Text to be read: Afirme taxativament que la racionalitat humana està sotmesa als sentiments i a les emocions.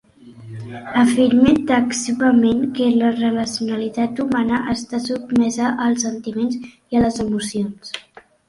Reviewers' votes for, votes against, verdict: 2, 0, accepted